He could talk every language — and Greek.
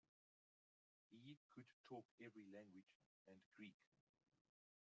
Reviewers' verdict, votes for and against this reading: rejected, 1, 2